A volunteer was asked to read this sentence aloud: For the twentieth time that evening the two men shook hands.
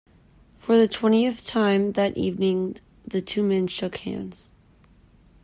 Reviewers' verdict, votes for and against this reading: accepted, 2, 0